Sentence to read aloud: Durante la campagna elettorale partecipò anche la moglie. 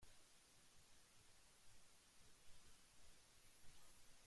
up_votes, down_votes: 0, 2